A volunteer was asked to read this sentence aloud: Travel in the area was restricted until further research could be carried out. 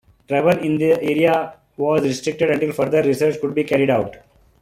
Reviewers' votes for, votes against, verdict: 2, 0, accepted